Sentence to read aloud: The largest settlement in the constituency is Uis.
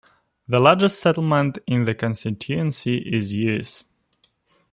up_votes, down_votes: 2, 1